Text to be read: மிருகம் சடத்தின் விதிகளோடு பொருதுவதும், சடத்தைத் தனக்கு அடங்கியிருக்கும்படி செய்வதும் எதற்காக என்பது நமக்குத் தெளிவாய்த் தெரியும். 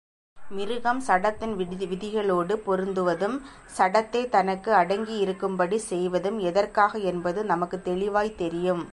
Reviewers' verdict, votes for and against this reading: accepted, 2, 0